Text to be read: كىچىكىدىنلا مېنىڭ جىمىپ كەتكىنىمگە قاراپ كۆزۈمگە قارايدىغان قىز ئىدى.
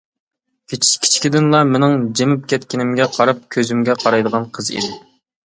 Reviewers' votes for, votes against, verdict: 0, 2, rejected